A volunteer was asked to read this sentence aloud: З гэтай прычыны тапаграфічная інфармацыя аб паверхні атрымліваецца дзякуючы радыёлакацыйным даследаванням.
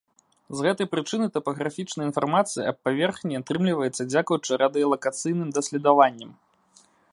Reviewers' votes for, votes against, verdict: 0, 2, rejected